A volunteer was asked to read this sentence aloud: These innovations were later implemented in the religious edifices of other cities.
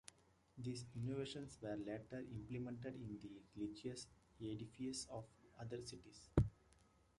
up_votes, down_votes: 0, 2